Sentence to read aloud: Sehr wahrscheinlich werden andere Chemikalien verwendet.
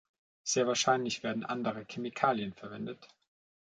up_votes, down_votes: 2, 0